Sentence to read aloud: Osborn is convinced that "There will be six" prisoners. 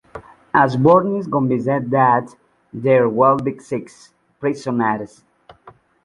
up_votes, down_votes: 0, 2